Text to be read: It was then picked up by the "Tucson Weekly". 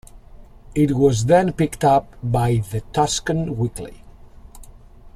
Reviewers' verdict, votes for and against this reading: rejected, 1, 2